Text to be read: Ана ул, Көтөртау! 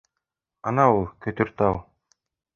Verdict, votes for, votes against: accepted, 2, 0